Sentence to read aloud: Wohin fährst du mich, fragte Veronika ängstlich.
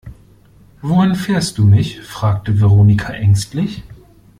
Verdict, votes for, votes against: accepted, 2, 0